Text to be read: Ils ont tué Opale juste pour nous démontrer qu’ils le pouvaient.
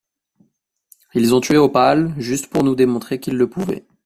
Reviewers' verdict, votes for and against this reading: accepted, 2, 0